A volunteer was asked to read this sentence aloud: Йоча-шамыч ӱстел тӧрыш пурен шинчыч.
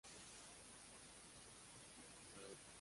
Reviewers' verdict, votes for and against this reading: rejected, 0, 2